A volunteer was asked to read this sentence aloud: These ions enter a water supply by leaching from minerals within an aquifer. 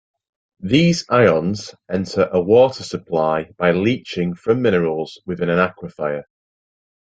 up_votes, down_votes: 0, 2